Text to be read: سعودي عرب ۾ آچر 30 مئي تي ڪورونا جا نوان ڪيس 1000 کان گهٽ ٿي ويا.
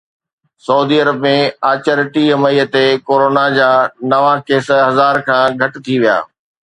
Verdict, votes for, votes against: rejected, 0, 2